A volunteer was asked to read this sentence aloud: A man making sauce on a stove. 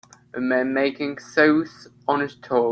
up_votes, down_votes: 0, 2